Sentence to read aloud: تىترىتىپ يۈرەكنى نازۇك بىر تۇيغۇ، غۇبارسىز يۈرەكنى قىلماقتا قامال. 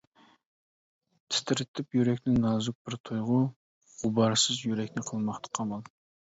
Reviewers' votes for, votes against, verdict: 2, 0, accepted